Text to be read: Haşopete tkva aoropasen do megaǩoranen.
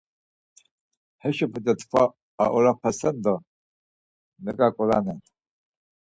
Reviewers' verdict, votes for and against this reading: rejected, 2, 4